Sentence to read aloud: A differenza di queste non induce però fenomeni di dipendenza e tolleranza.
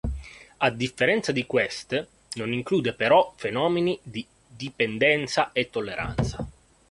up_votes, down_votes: 0, 2